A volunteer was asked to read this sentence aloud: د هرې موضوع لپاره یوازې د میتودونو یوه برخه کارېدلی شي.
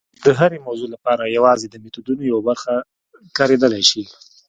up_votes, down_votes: 2, 0